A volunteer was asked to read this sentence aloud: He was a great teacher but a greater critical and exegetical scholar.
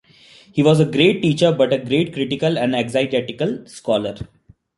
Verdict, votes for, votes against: rejected, 1, 2